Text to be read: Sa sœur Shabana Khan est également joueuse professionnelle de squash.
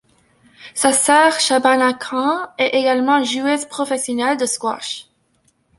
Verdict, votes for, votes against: accepted, 2, 0